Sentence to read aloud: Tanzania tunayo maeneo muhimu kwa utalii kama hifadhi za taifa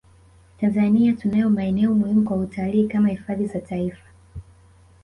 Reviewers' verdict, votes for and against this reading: accepted, 2, 1